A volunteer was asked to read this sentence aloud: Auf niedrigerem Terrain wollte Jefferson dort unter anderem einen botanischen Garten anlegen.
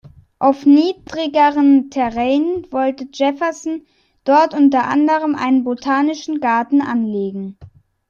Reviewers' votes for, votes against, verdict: 1, 2, rejected